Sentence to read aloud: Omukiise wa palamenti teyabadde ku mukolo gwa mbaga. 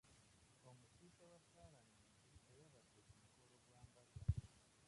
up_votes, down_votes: 0, 2